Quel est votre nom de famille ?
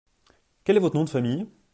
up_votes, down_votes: 2, 0